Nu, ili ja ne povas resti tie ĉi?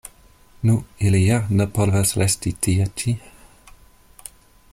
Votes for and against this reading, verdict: 2, 1, accepted